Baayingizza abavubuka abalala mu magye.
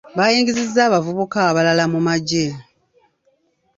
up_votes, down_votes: 0, 2